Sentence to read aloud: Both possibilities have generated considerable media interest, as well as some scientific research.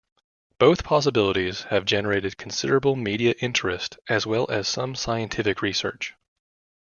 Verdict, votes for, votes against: accepted, 2, 0